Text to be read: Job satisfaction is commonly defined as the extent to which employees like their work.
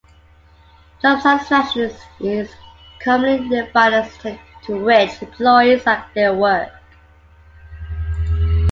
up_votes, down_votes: 0, 2